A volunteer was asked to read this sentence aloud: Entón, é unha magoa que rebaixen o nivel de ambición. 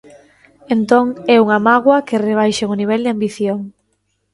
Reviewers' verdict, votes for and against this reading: accepted, 2, 0